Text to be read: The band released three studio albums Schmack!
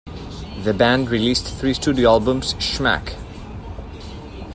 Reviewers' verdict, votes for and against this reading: accepted, 3, 0